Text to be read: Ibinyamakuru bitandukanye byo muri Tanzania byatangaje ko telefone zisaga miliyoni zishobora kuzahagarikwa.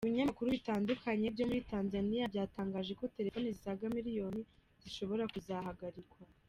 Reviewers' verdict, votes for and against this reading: accepted, 2, 0